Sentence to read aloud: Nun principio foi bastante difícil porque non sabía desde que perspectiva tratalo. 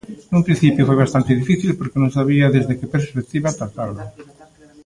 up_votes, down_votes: 1, 2